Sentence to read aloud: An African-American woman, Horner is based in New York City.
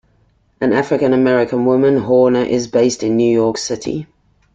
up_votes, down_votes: 2, 0